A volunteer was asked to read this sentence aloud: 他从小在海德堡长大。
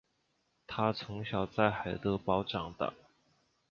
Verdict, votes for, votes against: accepted, 4, 1